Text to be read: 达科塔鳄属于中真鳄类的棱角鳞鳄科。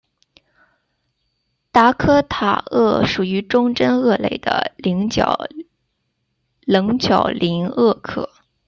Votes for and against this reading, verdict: 1, 2, rejected